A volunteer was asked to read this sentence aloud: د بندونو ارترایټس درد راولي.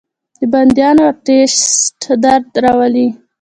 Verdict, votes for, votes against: accepted, 2, 0